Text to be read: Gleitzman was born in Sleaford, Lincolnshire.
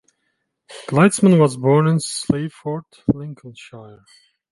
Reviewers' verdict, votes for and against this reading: rejected, 1, 2